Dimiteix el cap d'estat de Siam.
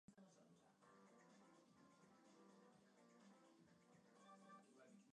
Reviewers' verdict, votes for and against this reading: rejected, 0, 2